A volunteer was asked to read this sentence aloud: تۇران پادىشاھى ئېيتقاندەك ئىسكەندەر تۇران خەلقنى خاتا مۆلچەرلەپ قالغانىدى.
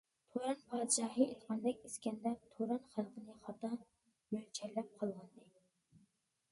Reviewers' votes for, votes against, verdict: 0, 2, rejected